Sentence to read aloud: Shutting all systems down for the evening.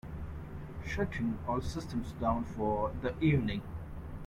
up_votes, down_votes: 2, 0